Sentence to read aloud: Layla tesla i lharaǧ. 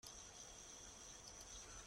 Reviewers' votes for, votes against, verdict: 0, 2, rejected